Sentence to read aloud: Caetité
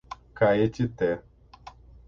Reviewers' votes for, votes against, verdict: 0, 6, rejected